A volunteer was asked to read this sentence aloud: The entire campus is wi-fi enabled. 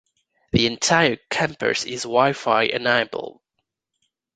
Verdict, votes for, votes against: rejected, 1, 2